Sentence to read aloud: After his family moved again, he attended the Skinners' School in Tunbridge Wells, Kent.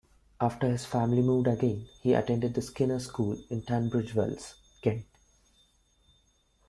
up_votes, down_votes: 2, 0